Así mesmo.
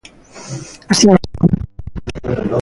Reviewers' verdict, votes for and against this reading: rejected, 0, 2